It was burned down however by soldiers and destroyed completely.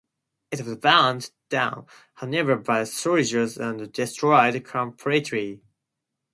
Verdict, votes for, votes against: rejected, 2, 2